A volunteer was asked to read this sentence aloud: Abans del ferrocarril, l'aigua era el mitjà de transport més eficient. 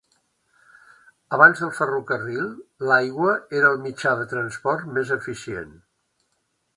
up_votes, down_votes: 1, 2